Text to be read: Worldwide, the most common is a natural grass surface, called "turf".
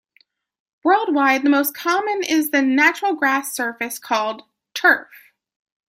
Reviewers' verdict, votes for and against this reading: accepted, 2, 1